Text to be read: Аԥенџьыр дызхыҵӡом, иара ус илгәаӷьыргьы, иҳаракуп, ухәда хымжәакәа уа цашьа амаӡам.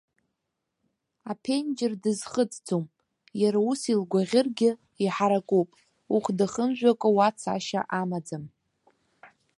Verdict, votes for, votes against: accepted, 2, 0